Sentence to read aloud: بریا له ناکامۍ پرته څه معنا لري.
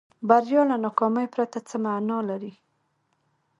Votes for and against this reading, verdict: 2, 0, accepted